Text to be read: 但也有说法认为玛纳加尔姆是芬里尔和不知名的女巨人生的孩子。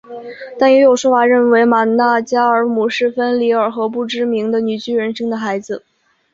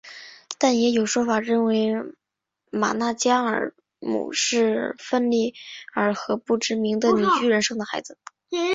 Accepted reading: first